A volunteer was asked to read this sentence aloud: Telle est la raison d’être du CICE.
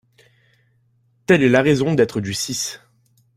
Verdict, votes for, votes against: rejected, 1, 2